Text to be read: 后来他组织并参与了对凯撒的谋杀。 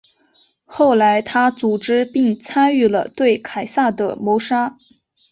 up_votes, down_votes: 2, 0